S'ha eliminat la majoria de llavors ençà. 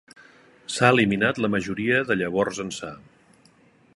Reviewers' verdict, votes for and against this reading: accepted, 3, 0